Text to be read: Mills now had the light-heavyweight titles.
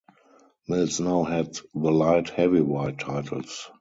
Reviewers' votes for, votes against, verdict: 2, 0, accepted